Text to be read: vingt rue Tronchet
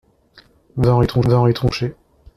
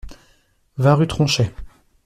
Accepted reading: second